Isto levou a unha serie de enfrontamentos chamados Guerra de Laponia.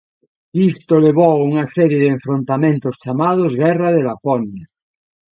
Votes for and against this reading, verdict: 2, 0, accepted